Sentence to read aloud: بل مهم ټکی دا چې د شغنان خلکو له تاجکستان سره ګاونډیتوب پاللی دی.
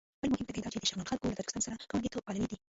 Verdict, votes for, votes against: rejected, 0, 2